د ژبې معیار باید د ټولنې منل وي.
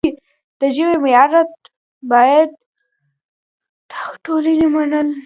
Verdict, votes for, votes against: rejected, 0, 2